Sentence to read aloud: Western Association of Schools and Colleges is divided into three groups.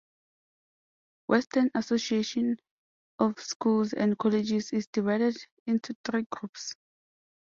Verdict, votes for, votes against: accepted, 2, 0